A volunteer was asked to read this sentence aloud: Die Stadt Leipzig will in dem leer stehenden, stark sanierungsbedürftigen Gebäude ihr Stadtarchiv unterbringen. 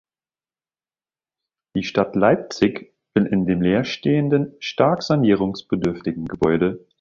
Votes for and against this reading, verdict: 0, 2, rejected